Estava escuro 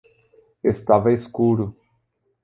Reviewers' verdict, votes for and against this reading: accepted, 2, 0